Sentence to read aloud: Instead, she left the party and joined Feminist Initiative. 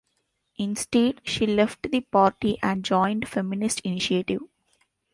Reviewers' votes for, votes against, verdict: 2, 0, accepted